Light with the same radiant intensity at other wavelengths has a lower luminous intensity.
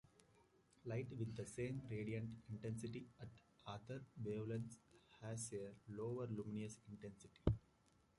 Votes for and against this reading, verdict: 2, 1, accepted